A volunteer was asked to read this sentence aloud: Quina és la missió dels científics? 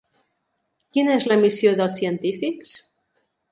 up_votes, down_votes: 3, 0